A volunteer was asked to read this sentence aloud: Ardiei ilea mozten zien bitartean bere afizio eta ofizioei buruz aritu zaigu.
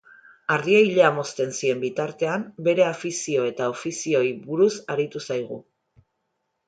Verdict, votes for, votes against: accepted, 2, 0